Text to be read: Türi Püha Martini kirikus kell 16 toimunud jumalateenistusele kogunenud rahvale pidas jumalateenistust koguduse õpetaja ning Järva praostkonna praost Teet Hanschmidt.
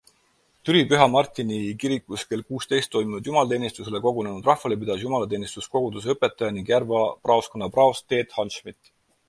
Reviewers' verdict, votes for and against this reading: rejected, 0, 2